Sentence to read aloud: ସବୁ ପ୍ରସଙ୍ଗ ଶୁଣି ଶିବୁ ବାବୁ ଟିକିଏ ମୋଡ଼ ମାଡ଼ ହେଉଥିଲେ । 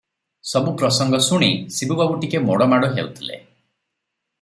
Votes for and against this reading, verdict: 3, 0, accepted